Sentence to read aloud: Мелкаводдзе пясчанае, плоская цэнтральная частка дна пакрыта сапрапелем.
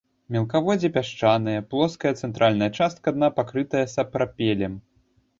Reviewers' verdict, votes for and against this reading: rejected, 1, 2